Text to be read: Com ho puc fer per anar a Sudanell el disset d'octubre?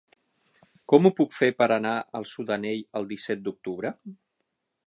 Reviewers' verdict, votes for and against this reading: rejected, 3, 6